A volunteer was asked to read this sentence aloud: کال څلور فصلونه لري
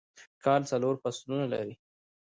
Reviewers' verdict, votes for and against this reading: rejected, 1, 2